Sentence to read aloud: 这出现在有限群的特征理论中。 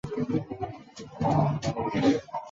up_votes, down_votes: 2, 3